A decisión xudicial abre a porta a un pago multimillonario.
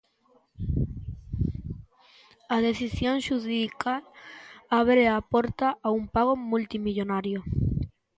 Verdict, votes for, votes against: rejected, 0, 2